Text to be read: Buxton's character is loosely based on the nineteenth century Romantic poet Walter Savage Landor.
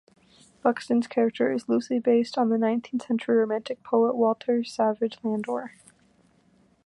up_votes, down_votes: 2, 0